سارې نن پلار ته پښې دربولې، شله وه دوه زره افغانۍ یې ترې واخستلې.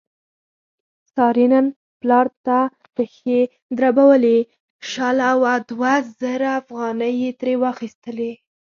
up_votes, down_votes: 0, 4